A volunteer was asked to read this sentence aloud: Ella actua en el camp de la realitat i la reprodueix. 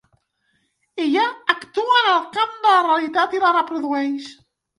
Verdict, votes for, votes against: rejected, 1, 2